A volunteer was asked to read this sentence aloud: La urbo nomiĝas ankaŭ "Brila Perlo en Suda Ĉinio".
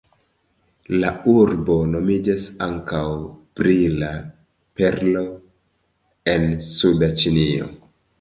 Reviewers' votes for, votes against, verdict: 2, 0, accepted